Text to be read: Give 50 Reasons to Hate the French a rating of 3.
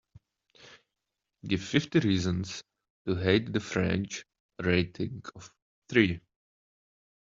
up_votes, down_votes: 0, 2